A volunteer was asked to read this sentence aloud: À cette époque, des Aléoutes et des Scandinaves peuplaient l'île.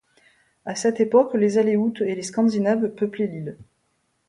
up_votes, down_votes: 1, 2